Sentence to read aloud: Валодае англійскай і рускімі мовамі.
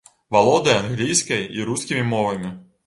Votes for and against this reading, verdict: 2, 0, accepted